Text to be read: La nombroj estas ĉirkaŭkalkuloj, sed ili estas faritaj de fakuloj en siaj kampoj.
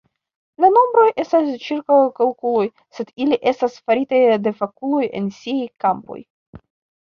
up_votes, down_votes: 0, 2